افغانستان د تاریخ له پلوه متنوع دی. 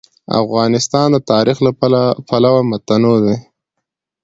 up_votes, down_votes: 2, 0